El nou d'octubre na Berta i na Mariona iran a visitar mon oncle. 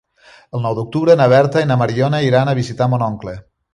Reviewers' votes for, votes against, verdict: 3, 0, accepted